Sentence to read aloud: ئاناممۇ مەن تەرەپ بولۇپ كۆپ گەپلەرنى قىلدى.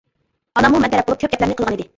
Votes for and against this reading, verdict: 0, 2, rejected